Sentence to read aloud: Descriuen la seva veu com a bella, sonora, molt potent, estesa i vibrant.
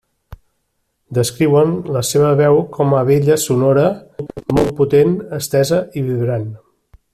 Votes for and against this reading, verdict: 1, 2, rejected